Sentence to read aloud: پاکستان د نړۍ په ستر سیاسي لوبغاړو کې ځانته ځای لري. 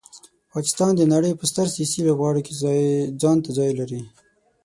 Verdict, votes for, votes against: rejected, 3, 6